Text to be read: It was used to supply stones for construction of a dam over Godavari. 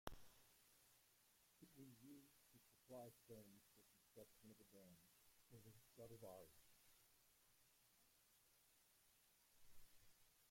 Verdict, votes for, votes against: rejected, 1, 2